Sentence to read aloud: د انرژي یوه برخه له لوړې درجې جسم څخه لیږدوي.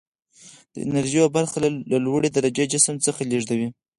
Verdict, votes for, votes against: rejected, 0, 4